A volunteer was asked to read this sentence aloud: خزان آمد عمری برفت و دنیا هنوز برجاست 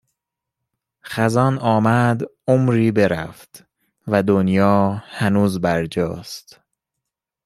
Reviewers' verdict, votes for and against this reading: accepted, 2, 0